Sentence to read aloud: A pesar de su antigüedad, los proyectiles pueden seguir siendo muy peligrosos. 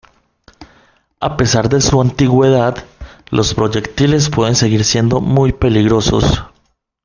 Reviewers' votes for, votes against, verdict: 2, 0, accepted